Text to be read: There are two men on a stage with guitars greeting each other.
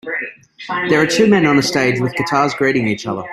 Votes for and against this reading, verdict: 2, 0, accepted